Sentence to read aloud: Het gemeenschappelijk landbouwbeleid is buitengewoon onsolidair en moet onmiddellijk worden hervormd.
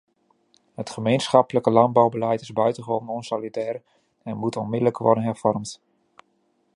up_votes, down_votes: 2, 0